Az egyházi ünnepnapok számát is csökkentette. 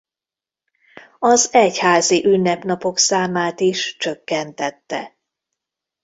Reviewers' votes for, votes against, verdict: 2, 0, accepted